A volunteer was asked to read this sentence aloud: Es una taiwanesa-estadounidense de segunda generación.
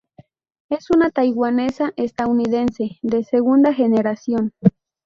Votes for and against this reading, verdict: 0, 4, rejected